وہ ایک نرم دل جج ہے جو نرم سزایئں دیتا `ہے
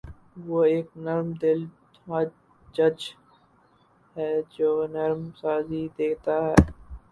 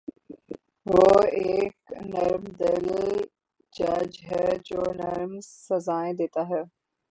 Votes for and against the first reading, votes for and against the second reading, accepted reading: 0, 2, 3, 0, second